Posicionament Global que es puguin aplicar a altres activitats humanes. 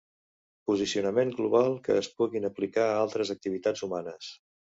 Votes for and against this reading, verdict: 2, 0, accepted